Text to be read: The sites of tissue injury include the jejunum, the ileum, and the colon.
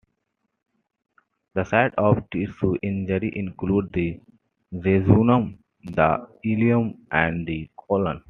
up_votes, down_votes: 2, 0